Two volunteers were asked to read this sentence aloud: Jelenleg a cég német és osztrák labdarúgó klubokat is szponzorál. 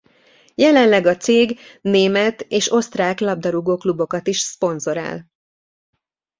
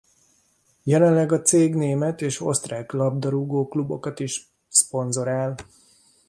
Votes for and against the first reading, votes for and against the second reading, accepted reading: 2, 0, 0, 2, first